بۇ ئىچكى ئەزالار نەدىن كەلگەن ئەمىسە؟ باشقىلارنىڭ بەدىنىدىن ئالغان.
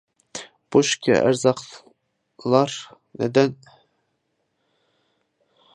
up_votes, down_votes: 0, 2